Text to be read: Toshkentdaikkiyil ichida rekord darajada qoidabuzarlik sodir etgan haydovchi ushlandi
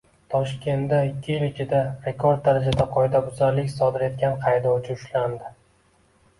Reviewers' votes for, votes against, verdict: 2, 0, accepted